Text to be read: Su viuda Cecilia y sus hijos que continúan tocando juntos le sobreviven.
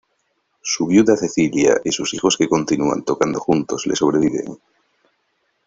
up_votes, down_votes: 2, 0